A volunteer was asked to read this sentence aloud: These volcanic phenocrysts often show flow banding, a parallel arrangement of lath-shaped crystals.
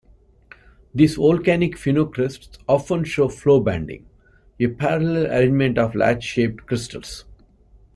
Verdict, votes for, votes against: rejected, 0, 2